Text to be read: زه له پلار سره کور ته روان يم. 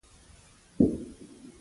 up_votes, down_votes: 0, 2